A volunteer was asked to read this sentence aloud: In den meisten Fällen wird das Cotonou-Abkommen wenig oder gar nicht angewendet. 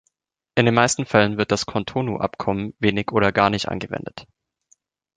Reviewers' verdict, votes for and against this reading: accepted, 2, 1